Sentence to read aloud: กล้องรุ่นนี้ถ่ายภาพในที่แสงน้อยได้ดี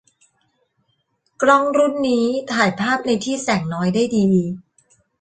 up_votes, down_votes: 2, 0